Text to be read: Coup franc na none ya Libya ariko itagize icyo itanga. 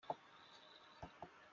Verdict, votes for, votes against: rejected, 0, 2